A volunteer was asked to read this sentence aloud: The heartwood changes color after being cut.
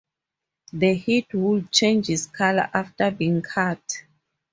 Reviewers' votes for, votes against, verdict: 2, 4, rejected